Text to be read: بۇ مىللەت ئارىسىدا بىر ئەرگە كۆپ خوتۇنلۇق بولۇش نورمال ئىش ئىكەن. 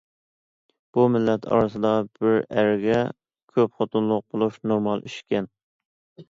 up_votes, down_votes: 2, 0